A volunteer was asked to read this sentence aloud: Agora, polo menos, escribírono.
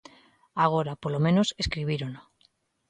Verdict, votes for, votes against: accepted, 2, 0